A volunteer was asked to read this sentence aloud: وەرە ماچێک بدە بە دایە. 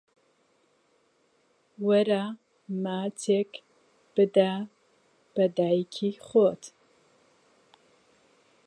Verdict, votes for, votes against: rejected, 0, 2